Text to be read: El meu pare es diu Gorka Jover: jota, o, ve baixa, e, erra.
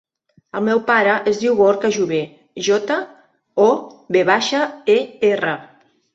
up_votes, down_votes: 3, 1